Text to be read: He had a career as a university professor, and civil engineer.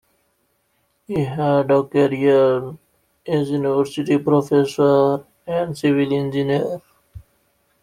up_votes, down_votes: 2, 1